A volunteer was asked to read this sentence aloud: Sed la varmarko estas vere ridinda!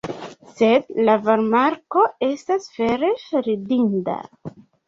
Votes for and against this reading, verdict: 2, 0, accepted